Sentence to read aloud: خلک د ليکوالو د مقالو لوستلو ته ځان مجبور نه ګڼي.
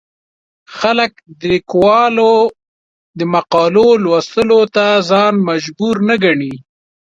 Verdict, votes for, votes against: rejected, 0, 2